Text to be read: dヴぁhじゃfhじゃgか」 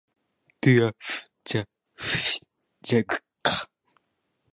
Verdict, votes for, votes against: rejected, 0, 2